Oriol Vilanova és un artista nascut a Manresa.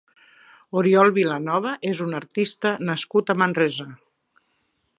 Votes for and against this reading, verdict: 2, 0, accepted